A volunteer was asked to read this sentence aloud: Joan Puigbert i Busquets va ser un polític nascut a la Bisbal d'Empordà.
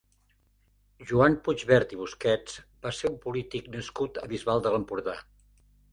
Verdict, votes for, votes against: rejected, 0, 2